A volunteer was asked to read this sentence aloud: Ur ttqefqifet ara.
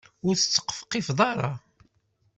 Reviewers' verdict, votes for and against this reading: accepted, 2, 0